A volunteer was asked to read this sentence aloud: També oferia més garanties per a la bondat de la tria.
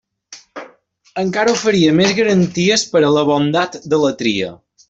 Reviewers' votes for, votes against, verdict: 0, 2, rejected